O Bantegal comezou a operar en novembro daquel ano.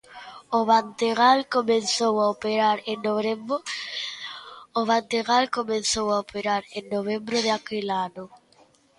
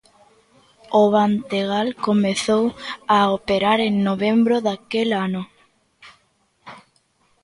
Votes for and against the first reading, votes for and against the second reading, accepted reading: 0, 2, 2, 0, second